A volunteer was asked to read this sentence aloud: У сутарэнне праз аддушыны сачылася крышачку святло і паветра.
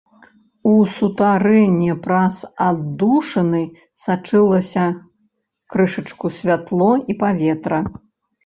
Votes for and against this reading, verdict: 2, 0, accepted